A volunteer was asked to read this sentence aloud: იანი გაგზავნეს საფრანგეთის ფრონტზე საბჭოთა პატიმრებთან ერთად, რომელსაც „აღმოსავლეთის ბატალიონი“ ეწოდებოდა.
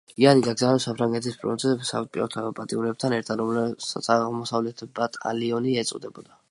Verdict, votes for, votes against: rejected, 1, 2